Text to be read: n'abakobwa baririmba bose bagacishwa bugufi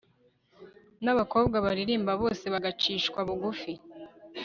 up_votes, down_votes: 1, 2